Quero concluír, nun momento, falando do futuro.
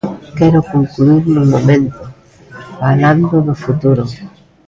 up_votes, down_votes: 0, 2